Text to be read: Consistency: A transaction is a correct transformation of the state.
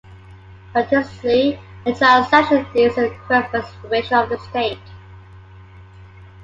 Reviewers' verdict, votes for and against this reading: rejected, 0, 2